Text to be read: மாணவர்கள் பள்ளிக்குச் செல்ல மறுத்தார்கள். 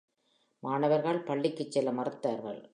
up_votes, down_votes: 2, 0